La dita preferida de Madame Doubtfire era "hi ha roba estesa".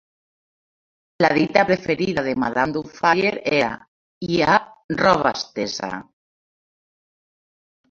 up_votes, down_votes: 1, 2